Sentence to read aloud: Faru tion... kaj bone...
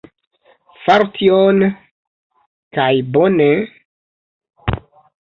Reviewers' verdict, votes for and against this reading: accepted, 2, 0